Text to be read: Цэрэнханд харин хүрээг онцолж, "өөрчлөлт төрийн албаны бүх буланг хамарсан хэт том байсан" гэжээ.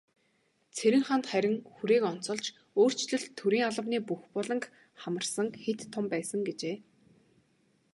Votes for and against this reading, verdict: 2, 0, accepted